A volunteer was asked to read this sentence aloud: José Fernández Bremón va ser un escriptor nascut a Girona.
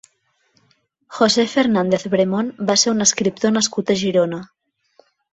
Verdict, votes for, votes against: accepted, 2, 0